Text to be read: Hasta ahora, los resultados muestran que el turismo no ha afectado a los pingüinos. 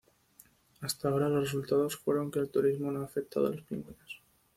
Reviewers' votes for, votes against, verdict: 0, 2, rejected